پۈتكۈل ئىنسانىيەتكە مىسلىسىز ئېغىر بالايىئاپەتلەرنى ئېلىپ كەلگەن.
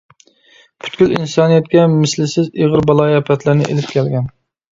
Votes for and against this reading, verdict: 2, 0, accepted